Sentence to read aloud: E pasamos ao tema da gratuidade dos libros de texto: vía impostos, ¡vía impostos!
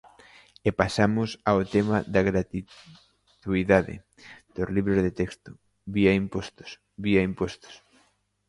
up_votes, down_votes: 0, 2